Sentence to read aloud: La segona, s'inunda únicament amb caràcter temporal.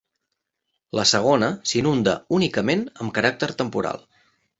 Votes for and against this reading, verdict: 4, 0, accepted